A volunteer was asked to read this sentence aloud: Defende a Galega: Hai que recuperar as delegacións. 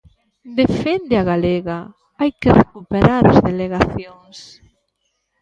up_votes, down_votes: 2, 1